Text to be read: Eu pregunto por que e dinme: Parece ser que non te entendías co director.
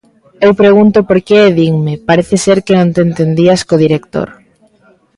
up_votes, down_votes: 2, 0